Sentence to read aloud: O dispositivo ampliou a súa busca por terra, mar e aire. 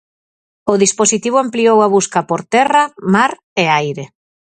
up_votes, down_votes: 0, 4